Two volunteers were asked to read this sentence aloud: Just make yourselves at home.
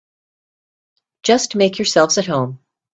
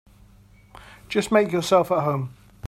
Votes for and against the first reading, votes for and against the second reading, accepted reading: 2, 0, 1, 2, first